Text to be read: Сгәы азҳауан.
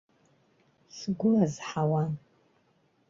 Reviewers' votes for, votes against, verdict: 2, 0, accepted